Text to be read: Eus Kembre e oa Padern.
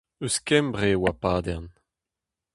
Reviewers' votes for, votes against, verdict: 2, 0, accepted